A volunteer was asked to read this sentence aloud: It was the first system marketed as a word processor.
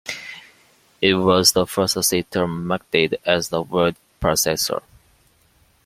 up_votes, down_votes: 1, 2